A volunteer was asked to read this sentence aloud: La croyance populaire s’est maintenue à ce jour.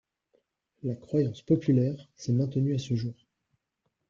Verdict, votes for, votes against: rejected, 1, 2